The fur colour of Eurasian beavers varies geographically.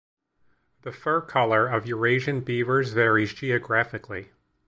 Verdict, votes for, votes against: accepted, 2, 0